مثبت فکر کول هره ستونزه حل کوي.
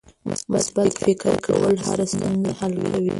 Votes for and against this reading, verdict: 0, 2, rejected